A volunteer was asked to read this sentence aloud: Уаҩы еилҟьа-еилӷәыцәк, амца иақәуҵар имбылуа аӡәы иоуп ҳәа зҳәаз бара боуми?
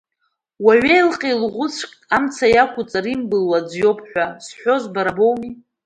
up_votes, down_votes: 0, 2